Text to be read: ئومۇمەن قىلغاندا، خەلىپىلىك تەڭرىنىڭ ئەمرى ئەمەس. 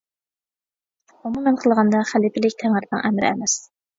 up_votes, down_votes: 0, 2